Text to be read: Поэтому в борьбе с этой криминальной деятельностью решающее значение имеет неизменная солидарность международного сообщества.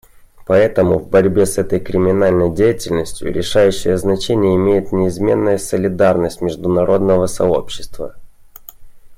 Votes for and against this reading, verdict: 2, 0, accepted